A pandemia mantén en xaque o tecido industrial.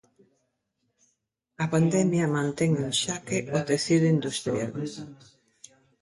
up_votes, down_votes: 0, 2